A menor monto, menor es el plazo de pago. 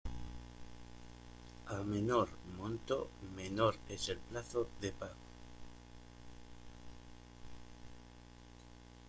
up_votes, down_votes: 1, 2